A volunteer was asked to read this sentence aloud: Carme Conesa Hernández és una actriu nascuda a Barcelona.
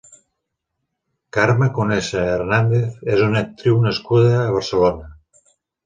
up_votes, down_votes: 3, 0